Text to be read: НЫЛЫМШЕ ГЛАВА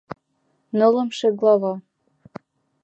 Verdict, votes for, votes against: accepted, 2, 0